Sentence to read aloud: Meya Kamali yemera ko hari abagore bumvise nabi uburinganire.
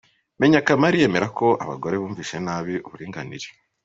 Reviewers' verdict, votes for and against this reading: rejected, 0, 2